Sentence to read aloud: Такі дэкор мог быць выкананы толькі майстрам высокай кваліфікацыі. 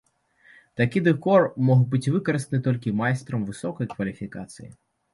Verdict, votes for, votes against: rejected, 1, 3